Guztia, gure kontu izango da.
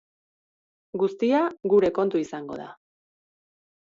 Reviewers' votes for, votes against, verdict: 2, 0, accepted